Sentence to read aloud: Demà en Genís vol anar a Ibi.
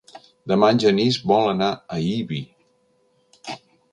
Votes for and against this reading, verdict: 3, 0, accepted